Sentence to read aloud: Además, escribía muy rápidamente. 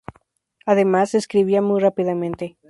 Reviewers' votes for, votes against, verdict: 2, 0, accepted